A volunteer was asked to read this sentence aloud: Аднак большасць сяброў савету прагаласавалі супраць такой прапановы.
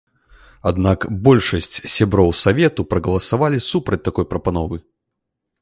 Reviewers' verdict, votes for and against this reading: rejected, 1, 2